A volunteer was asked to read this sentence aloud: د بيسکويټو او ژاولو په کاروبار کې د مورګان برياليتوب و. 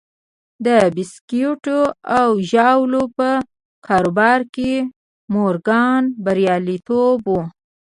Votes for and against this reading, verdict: 1, 2, rejected